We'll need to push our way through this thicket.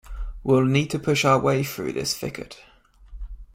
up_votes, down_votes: 2, 0